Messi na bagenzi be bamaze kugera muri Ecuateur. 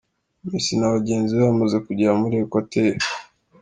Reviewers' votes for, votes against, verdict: 2, 0, accepted